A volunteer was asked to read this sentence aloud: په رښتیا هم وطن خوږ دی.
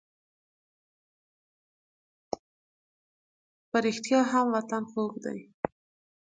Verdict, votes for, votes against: accepted, 4, 0